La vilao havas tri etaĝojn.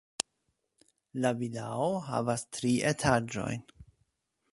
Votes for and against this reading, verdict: 2, 0, accepted